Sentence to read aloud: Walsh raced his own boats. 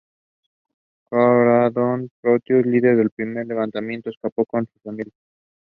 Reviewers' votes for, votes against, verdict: 0, 2, rejected